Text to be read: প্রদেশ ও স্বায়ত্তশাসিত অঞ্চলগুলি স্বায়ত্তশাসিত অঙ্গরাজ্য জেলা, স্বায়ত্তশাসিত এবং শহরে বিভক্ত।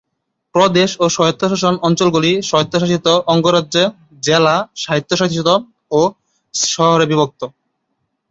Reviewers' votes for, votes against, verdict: 0, 4, rejected